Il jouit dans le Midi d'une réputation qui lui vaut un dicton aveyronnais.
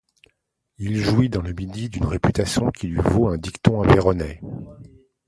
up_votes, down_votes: 2, 0